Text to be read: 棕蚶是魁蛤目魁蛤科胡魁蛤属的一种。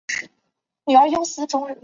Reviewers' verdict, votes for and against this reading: rejected, 1, 2